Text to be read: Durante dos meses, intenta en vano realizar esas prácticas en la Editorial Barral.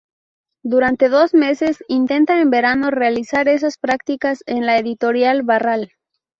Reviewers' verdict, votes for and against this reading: rejected, 0, 2